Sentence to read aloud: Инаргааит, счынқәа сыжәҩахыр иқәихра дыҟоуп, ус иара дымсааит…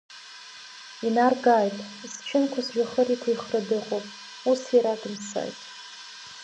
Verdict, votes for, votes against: rejected, 1, 2